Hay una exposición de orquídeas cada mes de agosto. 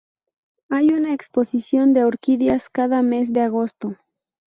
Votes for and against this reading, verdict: 2, 0, accepted